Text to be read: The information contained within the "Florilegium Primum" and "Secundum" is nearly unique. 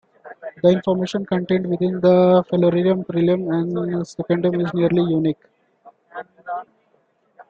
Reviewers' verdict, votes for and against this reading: accepted, 2, 1